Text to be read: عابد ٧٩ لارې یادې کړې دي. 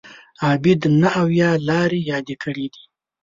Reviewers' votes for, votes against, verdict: 0, 2, rejected